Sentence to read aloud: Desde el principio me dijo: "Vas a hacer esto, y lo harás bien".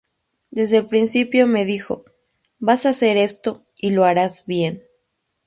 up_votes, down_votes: 2, 0